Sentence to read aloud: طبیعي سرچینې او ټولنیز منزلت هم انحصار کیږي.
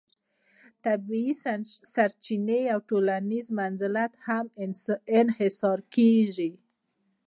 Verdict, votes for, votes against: accepted, 2, 0